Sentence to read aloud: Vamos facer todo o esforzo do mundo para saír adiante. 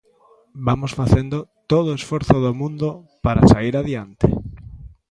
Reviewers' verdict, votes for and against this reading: rejected, 0, 3